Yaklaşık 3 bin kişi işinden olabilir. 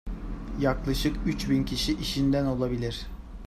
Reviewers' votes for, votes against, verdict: 0, 2, rejected